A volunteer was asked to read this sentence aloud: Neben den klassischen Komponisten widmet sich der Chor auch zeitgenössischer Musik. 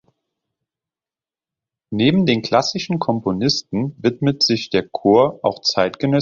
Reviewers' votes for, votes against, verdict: 0, 3, rejected